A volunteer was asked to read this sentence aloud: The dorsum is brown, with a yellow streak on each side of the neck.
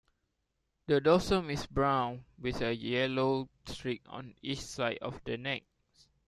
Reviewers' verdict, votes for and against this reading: accepted, 2, 0